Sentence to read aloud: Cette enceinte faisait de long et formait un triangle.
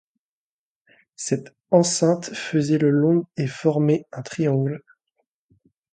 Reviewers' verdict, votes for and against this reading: rejected, 1, 2